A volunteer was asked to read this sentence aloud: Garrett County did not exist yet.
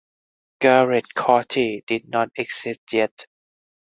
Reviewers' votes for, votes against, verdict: 0, 4, rejected